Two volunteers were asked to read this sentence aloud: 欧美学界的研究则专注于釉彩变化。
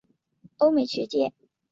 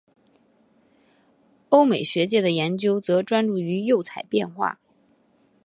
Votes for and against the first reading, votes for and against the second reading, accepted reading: 0, 2, 8, 0, second